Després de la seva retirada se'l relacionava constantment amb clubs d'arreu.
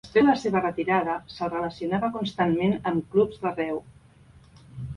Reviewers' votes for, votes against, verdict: 0, 3, rejected